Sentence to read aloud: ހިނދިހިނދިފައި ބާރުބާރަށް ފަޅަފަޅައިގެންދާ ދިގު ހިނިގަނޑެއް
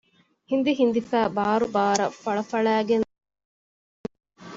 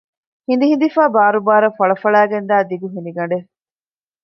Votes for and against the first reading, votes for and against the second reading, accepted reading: 0, 2, 2, 0, second